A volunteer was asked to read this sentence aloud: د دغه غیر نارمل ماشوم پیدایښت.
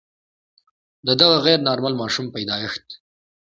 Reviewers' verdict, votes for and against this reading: accepted, 2, 0